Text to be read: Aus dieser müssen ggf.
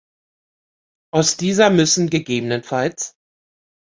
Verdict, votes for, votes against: rejected, 0, 2